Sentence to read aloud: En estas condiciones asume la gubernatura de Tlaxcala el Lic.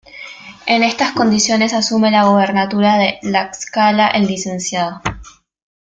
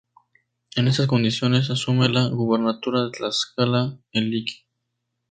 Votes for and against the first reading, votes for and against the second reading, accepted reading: 0, 2, 4, 0, second